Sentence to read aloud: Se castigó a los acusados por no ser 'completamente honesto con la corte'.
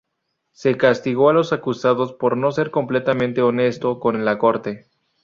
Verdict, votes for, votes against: rejected, 0, 2